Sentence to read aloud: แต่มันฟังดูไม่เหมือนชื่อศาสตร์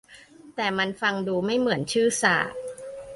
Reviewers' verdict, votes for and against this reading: accepted, 2, 0